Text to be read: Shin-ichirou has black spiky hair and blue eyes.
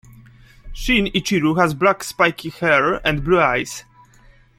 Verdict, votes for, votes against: accepted, 2, 0